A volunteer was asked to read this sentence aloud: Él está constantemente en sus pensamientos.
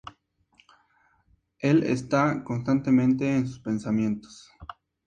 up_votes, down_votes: 2, 0